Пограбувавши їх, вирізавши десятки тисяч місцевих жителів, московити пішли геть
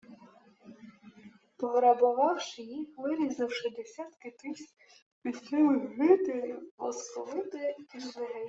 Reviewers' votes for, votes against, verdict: 1, 2, rejected